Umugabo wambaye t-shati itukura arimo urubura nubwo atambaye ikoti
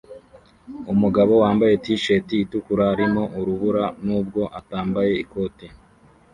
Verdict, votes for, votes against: rejected, 1, 2